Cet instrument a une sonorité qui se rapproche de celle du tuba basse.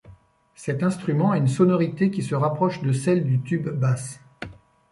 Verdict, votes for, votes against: rejected, 0, 2